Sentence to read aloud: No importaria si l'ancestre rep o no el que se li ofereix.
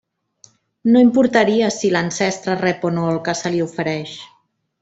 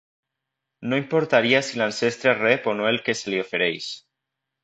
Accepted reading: second